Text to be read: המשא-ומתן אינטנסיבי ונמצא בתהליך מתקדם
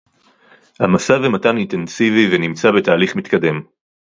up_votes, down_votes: 2, 0